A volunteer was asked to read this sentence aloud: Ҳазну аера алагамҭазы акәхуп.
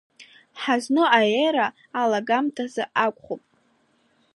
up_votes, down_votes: 2, 0